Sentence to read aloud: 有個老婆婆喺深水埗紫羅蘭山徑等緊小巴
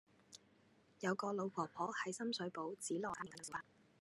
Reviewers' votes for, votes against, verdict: 0, 2, rejected